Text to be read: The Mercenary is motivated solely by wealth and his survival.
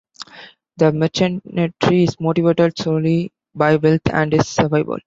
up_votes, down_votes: 1, 2